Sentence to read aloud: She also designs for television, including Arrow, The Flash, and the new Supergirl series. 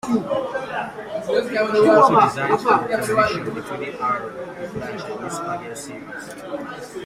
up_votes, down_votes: 1, 2